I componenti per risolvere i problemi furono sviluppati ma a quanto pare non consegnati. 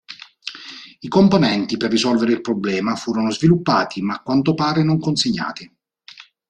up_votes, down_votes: 3, 4